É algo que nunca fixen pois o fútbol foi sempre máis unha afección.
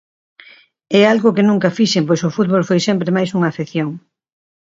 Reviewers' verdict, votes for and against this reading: accepted, 2, 0